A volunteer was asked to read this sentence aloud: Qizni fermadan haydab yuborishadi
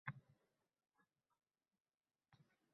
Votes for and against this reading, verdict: 0, 2, rejected